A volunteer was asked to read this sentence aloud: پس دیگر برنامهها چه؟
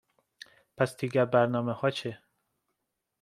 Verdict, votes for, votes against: accepted, 2, 0